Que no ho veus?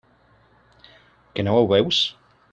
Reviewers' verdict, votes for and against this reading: accepted, 3, 0